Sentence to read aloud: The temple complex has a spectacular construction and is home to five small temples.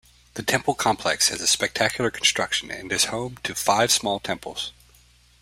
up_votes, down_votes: 2, 0